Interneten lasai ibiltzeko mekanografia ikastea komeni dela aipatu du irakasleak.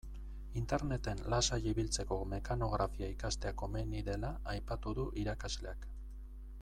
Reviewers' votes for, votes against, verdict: 2, 0, accepted